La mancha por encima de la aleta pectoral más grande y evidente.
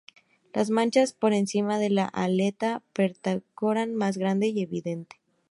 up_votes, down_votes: 0, 2